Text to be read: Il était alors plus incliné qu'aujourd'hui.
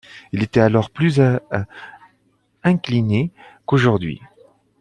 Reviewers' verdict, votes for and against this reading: rejected, 1, 2